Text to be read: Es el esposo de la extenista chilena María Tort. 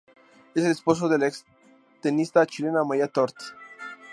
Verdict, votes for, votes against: accepted, 4, 0